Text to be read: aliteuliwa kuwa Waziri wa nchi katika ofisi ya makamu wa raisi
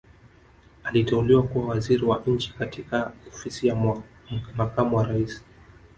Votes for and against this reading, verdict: 1, 2, rejected